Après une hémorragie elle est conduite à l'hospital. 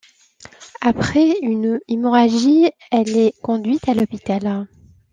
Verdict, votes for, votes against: rejected, 1, 2